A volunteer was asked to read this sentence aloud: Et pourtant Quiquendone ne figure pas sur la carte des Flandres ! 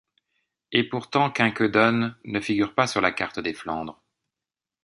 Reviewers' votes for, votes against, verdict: 2, 1, accepted